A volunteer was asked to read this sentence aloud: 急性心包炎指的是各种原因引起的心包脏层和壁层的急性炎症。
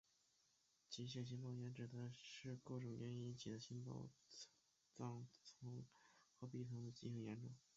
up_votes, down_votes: 1, 2